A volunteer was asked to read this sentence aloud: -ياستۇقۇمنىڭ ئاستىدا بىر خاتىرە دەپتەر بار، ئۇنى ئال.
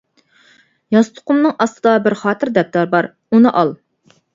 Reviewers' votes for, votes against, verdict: 2, 0, accepted